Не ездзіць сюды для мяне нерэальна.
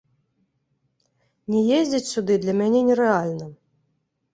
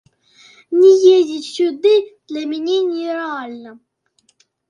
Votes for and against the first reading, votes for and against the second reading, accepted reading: 2, 0, 0, 2, first